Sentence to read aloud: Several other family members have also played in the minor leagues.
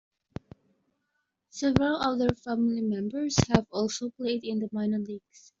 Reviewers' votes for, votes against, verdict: 0, 2, rejected